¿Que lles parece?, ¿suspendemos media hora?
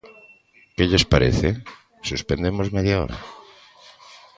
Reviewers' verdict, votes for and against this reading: accepted, 2, 0